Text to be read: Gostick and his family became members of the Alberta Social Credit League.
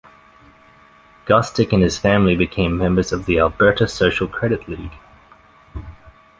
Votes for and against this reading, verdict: 2, 0, accepted